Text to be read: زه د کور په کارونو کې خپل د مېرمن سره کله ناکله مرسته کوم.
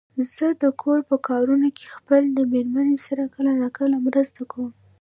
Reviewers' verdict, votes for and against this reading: rejected, 0, 2